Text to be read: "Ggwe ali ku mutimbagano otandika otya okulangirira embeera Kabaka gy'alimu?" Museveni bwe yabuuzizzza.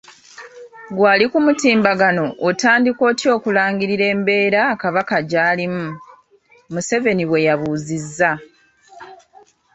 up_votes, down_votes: 2, 0